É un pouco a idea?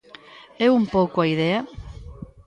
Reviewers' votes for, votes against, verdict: 2, 0, accepted